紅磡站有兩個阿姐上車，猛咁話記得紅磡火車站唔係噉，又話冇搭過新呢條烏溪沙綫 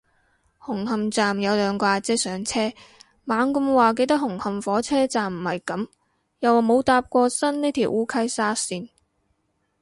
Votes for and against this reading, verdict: 0, 2, rejected